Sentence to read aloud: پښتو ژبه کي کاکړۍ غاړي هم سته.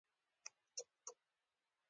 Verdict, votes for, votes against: accepted, 2, 0